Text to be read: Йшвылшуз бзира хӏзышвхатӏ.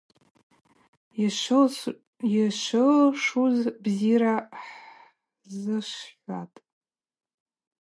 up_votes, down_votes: 2, 0